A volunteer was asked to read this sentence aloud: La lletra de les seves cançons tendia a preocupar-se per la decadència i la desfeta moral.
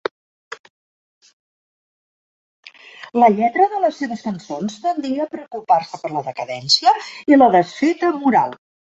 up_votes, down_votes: 4, 1